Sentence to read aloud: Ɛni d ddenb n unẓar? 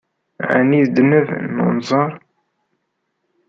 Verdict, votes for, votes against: rejected, 0, 2